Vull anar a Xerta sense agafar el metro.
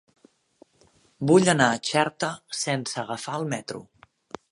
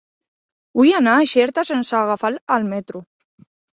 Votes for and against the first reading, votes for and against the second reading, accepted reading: 2, 0, 1, 2, first